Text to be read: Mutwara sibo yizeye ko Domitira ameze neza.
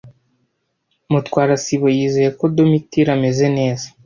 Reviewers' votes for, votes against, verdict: 0, 2, rejected